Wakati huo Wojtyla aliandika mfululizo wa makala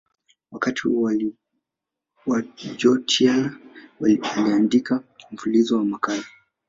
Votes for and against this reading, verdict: 1, 2, rejected